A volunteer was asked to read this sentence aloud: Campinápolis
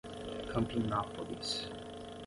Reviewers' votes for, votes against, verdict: 10, 0, accepted